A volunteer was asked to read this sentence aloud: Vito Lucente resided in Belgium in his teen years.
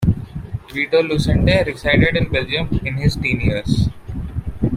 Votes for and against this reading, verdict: 2, 0, accepted